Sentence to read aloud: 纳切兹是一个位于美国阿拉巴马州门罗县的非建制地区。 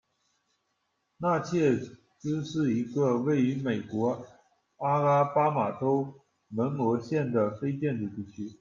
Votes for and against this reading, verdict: 2, 0, accepted